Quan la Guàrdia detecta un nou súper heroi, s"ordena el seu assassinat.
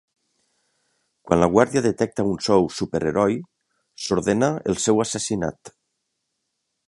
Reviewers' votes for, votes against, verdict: 0, 2, rejected